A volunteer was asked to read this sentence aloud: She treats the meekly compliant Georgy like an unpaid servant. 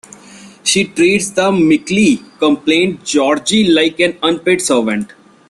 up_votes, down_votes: 1, 2